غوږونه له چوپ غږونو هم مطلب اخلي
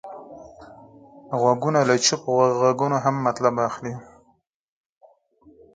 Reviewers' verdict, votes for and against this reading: rejected, 0, 4